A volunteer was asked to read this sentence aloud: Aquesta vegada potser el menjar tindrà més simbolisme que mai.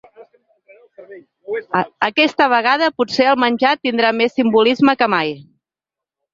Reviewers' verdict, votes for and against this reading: rejected, 0, 2